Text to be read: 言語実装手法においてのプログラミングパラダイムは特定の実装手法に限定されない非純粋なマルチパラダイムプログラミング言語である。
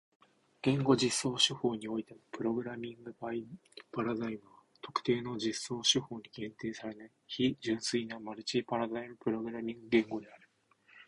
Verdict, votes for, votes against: accepted, 2, 1